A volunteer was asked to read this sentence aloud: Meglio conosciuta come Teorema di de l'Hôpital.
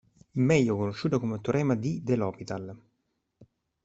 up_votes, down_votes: 0, 2